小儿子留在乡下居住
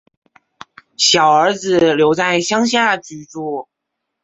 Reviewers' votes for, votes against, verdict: 2, 0, accepted